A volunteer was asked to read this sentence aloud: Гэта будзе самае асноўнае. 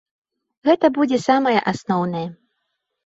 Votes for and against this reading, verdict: 2, 0, accepted